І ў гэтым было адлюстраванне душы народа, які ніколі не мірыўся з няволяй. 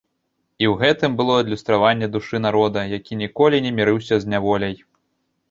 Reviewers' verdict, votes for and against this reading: accepted, 2, 0